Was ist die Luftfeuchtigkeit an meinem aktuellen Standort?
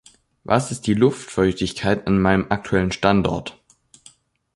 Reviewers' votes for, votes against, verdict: 2, 0, accepted